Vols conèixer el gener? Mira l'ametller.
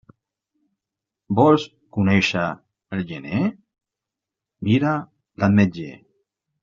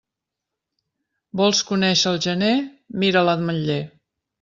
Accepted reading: second